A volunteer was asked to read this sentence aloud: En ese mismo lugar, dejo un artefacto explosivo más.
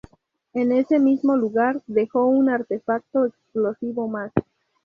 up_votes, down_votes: 0, 2